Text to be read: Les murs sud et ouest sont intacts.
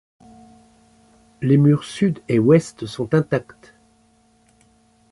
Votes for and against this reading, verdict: 2, 0, accepted